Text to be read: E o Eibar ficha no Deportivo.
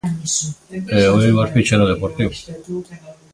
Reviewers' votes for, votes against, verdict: 2, 0, accepted